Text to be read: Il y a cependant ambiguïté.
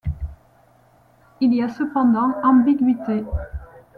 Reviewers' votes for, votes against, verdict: 2, 0, accepted